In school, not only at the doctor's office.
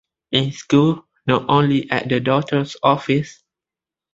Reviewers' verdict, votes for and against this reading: accepted, 2, 0